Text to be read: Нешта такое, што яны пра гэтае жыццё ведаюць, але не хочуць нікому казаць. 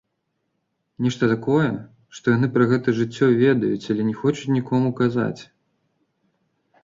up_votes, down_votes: 2, 0